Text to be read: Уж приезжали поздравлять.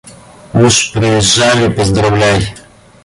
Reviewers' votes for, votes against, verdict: 2, 1, accepted